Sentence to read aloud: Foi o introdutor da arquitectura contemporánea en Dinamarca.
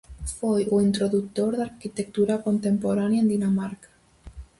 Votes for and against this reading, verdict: 2, 0, accepted